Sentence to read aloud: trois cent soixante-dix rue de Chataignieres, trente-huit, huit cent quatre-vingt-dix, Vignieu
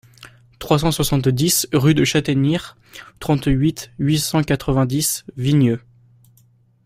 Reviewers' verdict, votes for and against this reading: accepted, 2, 1